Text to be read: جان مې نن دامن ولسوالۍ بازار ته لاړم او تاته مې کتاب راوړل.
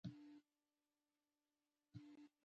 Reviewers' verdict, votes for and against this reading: rejected, 0, 2